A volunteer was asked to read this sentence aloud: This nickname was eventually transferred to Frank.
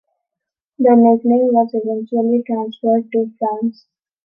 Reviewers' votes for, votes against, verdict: 0, 2, rejected